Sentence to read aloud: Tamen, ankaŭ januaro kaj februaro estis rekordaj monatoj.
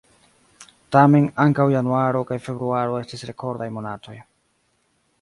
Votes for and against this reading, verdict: 1, 2, rejected